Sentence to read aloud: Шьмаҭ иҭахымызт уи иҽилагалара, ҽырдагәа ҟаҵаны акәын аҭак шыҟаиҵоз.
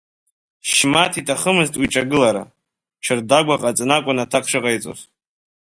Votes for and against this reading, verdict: 2, 1, accepted